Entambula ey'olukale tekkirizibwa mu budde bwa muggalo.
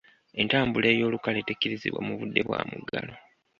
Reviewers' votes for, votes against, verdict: 2, 0, accepted